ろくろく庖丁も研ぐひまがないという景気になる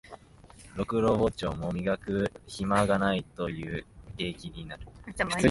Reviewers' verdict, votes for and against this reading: rejected, 1, 2